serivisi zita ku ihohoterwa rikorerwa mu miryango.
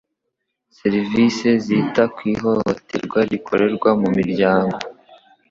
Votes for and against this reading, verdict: 2, 0, accepted